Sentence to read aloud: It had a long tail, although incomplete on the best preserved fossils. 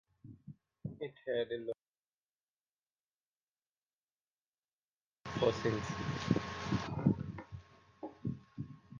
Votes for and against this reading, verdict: 0, 2, rejected